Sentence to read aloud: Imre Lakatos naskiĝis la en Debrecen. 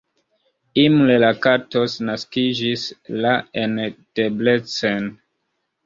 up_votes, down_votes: 1, 2